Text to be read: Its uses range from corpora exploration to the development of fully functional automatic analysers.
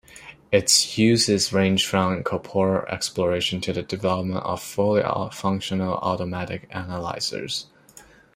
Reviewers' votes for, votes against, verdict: 2, 1, accepted